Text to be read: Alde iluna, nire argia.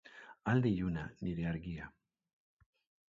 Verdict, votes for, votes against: accepted, 2, 0